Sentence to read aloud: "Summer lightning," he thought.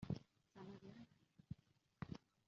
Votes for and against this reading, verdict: 0, 2, rejected